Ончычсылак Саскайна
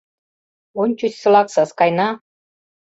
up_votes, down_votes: 2, 0